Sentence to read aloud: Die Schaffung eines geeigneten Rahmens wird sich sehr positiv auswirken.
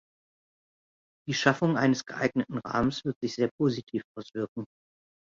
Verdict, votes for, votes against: accepted, 2, 0